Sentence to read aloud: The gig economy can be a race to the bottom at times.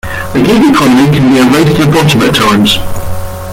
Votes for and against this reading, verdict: 1, 2, rejected